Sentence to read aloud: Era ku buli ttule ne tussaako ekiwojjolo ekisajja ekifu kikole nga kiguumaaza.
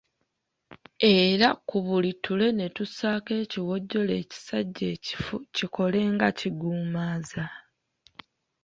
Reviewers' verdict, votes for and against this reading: rejected, 1, 2